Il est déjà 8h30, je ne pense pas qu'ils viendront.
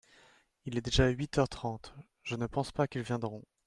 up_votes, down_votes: 0, 2